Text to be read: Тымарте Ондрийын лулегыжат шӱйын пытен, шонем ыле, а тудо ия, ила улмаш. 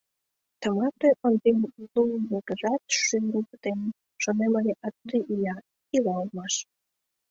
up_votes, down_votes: 0, 2